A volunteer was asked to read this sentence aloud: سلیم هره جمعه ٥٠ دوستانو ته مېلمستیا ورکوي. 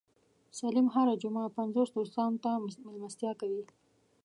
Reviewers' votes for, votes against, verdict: 0, 2, rejected